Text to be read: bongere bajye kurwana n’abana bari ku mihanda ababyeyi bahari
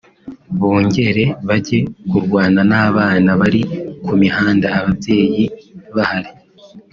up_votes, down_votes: 3, 0